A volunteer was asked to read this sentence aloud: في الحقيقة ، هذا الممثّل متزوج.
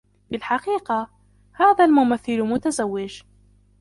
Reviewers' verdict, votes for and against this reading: accepted, 2, 1